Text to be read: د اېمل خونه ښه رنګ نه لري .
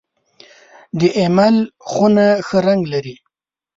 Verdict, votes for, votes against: rejected, 1, 2